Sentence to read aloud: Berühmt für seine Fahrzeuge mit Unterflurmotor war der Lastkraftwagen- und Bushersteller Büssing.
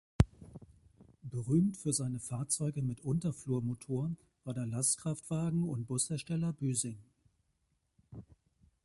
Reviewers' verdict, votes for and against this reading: accepted, 3, 0